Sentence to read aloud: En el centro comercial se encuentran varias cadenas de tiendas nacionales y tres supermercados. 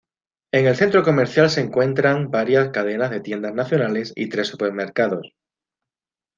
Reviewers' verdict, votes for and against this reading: accepted, 2, 0